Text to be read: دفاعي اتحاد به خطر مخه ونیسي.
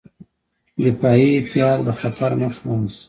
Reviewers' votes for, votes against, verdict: 1, 2, rejected